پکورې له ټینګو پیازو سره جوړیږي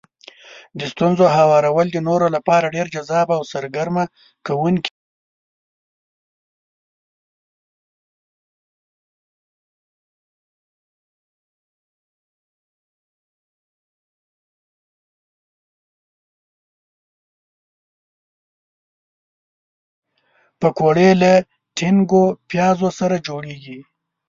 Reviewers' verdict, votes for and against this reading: rejected, 0, 2